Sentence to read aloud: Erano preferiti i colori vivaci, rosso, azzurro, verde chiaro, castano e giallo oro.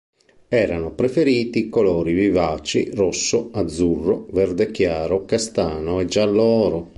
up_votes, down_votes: 2, 0